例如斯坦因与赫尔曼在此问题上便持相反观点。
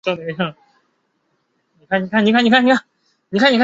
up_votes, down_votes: 0, 2